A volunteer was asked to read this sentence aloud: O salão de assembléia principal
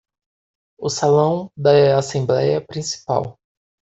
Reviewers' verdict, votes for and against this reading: rejected, 0, 2